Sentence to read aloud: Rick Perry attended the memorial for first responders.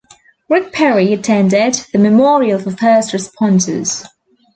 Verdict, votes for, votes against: rejected, 1, 2